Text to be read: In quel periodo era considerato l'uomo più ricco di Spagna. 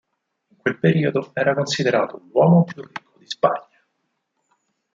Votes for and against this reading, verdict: 0, 4, rejected